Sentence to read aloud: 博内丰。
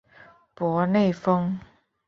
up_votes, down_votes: 3, 0